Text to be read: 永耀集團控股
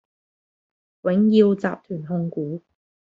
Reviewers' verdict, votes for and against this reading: accepted, 2, 0